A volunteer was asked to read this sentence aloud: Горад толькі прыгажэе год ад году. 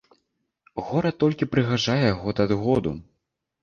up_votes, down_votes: 1, 2